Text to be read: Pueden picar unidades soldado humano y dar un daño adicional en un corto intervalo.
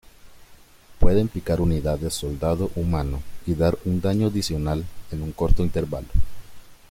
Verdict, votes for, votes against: accepted, 2, 1